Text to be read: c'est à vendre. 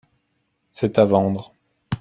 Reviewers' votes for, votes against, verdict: 2, 0, accepted